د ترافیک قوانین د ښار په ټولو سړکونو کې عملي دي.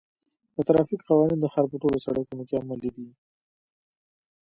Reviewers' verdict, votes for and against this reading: accepted, 2, 0